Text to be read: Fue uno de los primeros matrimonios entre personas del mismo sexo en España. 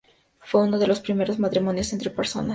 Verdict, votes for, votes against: rejected, 0, 2